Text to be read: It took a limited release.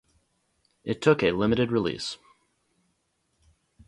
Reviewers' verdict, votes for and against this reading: accepted, 2, 0